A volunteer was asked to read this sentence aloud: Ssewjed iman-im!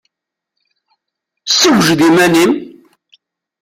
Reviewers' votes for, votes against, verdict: 1, 2, rejected